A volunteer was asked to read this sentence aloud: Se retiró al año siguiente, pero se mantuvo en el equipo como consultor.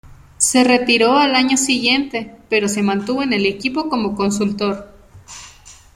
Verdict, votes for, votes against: accepted, 2, 0